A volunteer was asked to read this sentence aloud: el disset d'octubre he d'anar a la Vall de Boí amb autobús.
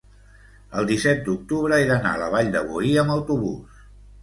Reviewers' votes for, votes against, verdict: 2, 0, accepted